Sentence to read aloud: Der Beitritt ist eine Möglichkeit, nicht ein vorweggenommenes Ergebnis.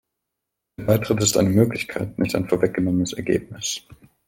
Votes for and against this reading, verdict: 1, 2, rejected